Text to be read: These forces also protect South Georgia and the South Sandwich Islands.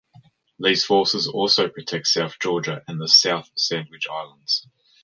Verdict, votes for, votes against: accepted, 2, 1